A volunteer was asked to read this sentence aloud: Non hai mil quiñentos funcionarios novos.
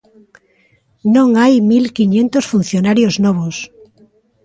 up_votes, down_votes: 0, 2